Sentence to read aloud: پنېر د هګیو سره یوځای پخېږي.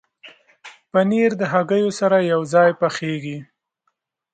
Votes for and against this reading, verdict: 2, 0, accepted